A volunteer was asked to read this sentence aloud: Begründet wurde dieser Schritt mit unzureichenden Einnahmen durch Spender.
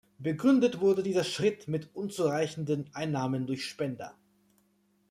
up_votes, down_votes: 2, 0